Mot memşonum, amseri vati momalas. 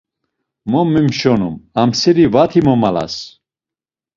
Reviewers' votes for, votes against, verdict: 2, 1, accepted